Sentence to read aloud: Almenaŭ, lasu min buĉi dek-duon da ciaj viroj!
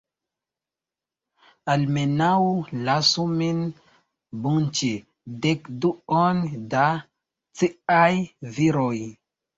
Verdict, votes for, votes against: rejected, 1, 3